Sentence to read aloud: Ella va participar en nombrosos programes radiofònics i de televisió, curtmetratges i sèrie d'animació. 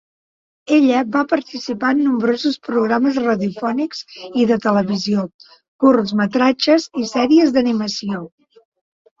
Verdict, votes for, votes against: rejected, 1, 2